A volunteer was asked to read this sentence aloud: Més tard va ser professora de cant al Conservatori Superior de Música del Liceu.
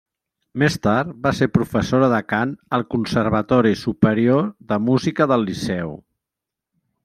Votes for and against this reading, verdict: 3, 0, accepted